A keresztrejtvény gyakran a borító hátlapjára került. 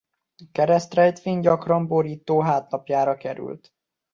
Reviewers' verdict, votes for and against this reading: rejected, 0, 2